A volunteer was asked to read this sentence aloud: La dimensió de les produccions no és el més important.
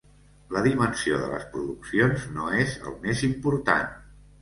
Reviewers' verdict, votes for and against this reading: accepted, 3, 0